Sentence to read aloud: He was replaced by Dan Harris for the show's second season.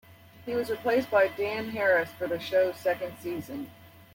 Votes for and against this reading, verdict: 2, 0, accepted